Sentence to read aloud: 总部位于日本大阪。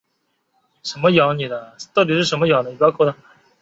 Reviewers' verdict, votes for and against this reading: rejected, 0, 4